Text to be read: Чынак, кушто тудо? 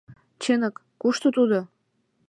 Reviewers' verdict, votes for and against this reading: rejected, 1, 2